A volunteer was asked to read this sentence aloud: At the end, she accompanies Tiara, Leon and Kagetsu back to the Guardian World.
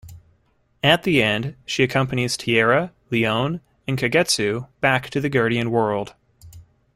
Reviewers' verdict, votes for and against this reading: accepted, 2, 0